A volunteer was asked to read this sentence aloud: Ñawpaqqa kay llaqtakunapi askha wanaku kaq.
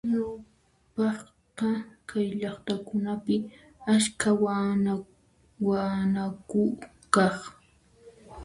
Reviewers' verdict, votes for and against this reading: rejected, 1, 2